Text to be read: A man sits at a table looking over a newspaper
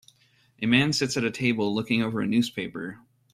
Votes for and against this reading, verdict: 2, 0, accepted